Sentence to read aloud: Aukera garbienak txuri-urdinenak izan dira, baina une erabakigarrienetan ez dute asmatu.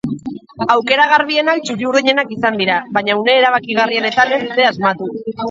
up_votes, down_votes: 0, 2